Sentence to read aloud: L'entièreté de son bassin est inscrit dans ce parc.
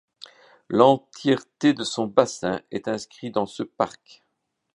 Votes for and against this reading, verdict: 2, 0, accepted